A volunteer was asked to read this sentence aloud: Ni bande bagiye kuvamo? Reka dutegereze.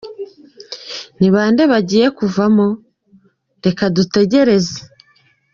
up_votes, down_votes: 2, 0